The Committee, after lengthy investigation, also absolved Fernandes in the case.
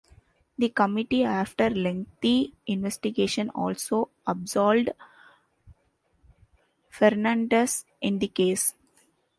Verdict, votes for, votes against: accepted, 2, 1